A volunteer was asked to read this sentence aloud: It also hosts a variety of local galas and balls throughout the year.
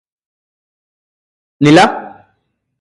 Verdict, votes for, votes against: rejected, 0, 4